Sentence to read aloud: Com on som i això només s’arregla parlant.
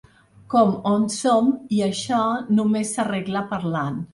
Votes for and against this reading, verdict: 3, 0, accepted